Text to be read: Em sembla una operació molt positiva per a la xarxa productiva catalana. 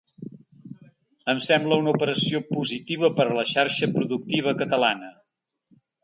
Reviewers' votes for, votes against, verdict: 0, 2, rejected